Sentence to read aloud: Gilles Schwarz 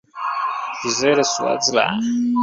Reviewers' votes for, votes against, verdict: 1, 2, rejected